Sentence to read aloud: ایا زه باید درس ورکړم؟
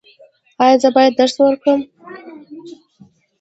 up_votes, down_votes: 2, 0